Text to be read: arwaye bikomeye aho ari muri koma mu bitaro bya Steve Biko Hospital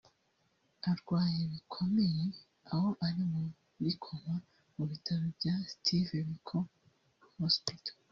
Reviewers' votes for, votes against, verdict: 1, 2, rejected